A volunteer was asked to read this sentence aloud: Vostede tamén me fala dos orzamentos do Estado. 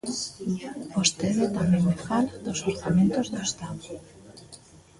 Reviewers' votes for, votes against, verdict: 1, 2, rejected